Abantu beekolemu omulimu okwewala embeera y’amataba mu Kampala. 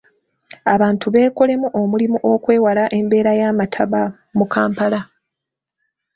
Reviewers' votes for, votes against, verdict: 2, 1, accepted